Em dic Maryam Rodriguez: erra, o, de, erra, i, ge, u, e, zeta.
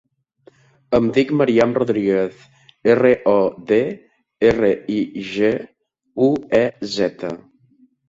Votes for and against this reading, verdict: 1, 2, rejected